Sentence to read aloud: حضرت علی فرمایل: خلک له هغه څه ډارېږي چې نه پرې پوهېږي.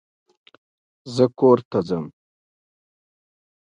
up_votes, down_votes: 1, 2